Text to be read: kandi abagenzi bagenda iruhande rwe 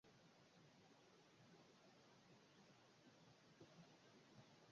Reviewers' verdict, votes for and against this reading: rejected, 0, 2